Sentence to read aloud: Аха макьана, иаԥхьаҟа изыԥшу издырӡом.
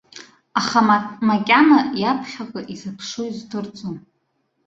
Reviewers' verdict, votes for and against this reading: rejected, 1, 2